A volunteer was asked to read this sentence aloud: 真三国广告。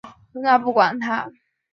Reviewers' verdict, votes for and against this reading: accepted, 2, 0